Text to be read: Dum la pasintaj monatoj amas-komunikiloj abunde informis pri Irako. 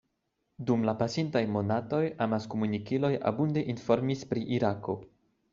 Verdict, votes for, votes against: accepted, 2, 0